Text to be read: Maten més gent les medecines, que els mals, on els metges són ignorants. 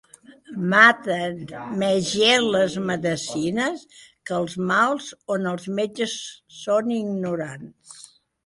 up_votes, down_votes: 3, 0